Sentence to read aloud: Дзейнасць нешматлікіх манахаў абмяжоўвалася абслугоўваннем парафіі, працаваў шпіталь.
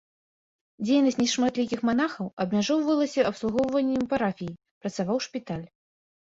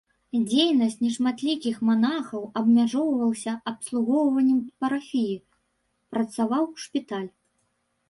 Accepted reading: first